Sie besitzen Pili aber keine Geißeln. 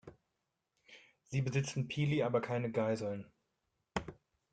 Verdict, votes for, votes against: rejected, 0, 2